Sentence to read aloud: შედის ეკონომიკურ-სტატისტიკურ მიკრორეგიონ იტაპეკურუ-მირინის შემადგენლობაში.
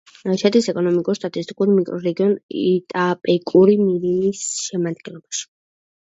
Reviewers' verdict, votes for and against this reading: rejected, 1, 2